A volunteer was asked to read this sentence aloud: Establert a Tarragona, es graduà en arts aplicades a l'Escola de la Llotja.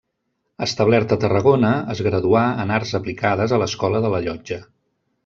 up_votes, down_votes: 2, 0